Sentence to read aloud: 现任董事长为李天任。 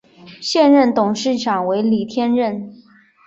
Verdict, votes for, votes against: accepted, 3, 0